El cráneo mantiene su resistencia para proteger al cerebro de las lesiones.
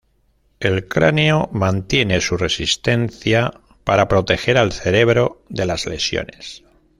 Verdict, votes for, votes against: accepted, 2, 1